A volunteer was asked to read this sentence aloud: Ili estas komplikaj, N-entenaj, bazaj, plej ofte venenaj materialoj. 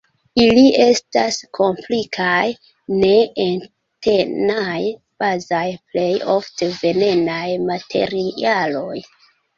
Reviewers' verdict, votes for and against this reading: rejected, 0, 2